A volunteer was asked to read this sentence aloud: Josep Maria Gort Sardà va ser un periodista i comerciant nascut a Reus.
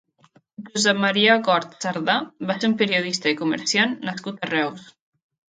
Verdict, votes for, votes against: accepted, 2, 0